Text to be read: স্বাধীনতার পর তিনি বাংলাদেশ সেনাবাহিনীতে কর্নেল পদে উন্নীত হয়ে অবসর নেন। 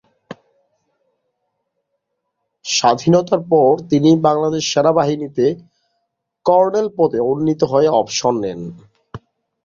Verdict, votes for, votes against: rejected, 1, 2